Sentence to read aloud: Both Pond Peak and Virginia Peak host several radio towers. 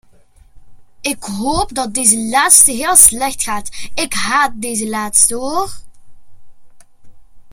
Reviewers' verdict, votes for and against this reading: rejected, 0, 2